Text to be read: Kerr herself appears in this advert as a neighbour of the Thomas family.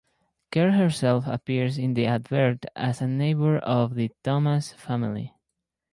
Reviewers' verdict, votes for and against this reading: accepted, 4, 2